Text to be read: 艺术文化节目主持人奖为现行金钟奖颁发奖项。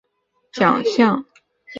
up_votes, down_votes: 0, 2